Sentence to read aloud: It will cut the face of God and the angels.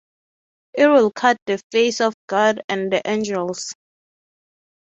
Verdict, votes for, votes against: accepted, 6, 0